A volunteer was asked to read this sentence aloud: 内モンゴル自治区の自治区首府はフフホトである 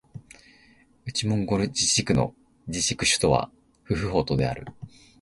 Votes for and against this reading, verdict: 25, 9, accepted